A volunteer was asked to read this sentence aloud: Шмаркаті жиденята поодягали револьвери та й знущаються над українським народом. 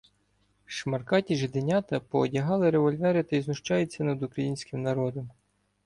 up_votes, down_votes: 2, 0